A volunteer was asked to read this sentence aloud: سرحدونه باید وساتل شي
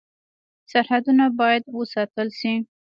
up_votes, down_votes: 3, 2